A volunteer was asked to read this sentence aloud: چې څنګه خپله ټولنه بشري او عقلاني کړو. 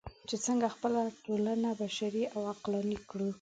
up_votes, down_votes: 2, 0